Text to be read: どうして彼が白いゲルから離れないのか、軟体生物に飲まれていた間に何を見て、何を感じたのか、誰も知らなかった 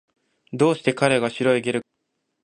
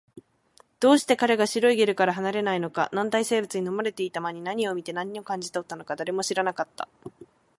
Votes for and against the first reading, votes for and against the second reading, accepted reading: 0, 2, 2, 0, second